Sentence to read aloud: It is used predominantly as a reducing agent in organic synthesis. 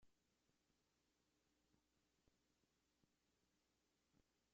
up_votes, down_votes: 0, 2